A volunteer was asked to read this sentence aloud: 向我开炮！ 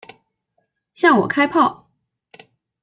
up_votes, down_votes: 2, 0